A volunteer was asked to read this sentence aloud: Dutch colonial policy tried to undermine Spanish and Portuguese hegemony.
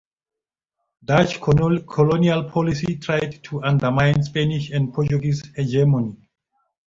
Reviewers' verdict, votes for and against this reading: rejected, 0, 3